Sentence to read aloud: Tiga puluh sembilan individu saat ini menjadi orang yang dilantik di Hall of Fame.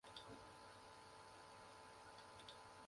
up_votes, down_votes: 0, 2